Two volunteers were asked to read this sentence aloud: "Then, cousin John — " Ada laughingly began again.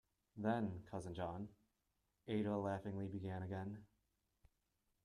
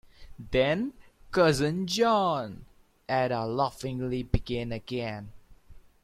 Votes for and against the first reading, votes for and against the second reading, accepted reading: 1, 2, 2, 0, second